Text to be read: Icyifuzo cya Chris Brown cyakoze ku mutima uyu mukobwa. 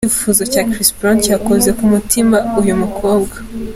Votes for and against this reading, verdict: 2, 1, accepted